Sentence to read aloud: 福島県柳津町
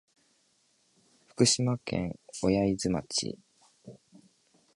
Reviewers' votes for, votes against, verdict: 1, 2, rejected